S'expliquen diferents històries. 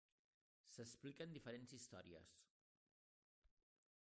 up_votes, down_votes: 0, 2